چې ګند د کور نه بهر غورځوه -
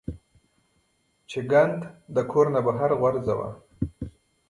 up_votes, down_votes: 2, 1